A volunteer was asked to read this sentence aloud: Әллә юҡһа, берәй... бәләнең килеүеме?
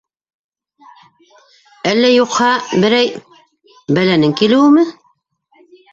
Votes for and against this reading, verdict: 2, 1, accepted